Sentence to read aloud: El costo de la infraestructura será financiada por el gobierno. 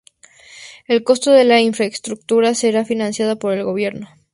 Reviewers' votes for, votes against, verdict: 2, 0, accepted